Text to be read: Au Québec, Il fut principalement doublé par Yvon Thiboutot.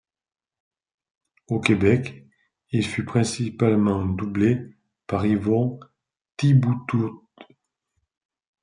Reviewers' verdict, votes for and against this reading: rejected, 0, 2